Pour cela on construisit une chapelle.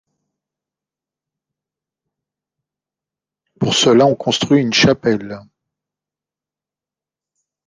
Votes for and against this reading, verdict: 1, 2, rejected